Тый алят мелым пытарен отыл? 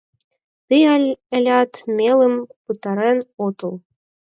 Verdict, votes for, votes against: rejected, 2, 4